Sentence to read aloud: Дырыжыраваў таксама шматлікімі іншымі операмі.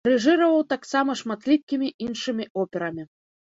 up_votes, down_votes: 0, 2